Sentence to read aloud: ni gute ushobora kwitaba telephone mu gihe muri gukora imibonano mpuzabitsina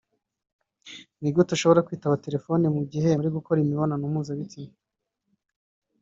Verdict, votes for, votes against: rejected, 0, 2